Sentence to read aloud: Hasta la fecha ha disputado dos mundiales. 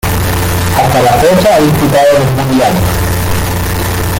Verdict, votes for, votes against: rejected, 0, 2